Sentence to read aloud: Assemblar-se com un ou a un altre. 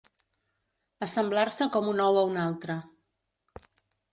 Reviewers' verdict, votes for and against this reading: accepted, 2, 0